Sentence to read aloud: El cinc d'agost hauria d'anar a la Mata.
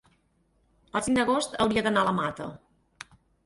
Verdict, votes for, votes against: rejected, 2, 4